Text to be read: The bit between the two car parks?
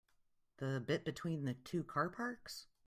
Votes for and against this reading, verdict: 2, 0, accepted